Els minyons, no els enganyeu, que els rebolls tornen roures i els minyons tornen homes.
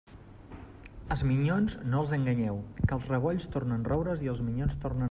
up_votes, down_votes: 1, 2